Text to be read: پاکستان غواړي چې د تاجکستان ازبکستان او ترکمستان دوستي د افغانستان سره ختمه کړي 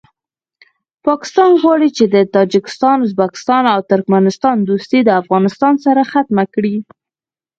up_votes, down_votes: 2, 4